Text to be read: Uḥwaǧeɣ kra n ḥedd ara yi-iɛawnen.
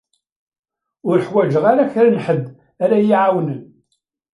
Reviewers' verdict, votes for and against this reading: rejected, 1, 2